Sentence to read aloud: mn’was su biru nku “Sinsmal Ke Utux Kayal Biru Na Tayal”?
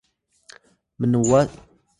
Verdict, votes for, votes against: rejected, 1, 2